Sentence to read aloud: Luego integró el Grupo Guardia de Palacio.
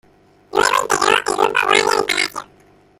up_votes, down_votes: 0, 2